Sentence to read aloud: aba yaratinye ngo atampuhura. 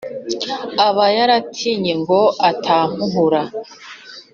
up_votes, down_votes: 2, 0